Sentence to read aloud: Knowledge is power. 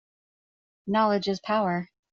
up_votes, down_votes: 2, 0